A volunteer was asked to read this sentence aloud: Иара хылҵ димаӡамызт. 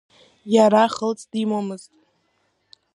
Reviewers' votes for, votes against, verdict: 0, 2, rejected